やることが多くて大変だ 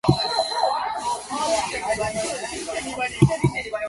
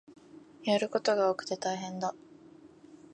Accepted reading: second